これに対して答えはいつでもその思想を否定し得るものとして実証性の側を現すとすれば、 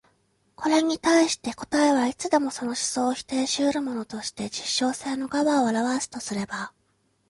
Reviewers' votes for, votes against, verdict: 2, 0, accepted